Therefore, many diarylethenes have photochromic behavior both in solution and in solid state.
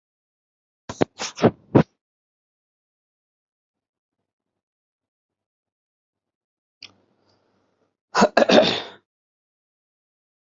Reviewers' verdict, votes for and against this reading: rejected, 0, 2